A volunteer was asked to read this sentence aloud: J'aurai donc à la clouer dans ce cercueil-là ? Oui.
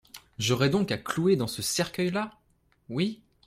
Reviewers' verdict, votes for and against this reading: rejected, 0, 2